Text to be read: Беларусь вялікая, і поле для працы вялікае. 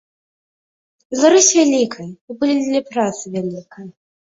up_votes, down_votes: 3, 1